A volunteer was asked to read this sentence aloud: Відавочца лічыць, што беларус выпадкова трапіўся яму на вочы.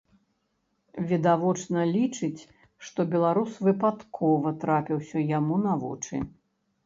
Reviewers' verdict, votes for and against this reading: rejected, 1, 2